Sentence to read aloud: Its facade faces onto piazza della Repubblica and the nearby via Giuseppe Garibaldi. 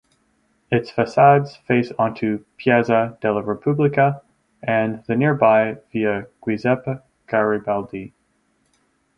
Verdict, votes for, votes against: rejected, 0, 2